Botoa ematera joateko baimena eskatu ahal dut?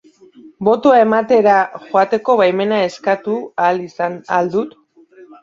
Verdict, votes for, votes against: rejected, 1, 2